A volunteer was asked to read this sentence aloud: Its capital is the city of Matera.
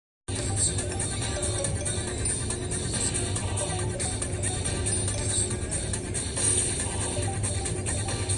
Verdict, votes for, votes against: rejected, 0, 2